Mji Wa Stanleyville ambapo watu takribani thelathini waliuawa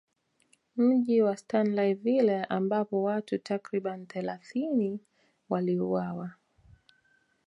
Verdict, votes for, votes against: accepted, 2, 0